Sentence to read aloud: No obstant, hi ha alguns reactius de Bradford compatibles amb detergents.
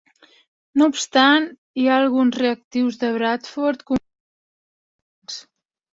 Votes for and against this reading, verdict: 0, 2, rejected